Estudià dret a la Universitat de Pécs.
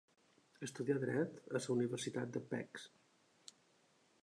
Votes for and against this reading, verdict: 0, 2, rejected